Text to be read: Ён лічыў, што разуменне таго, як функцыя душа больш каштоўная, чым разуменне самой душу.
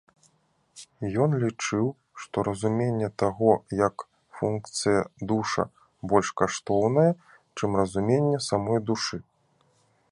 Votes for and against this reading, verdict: 1, 2, rejected